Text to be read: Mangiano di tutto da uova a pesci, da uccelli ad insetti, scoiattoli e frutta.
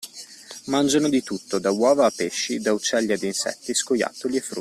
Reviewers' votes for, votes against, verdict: 1, 2, rejected